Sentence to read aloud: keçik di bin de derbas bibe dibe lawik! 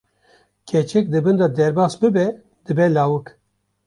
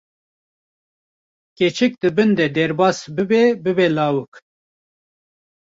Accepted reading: first